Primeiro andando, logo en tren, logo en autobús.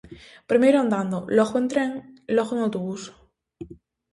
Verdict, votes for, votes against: accepted, 2, 0